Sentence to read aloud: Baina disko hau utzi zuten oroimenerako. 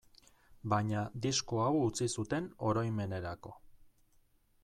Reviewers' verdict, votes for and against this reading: accepted, 2, 0